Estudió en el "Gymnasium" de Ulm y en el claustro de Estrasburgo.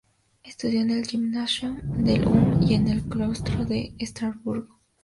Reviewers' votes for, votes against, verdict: 2, 2, rejected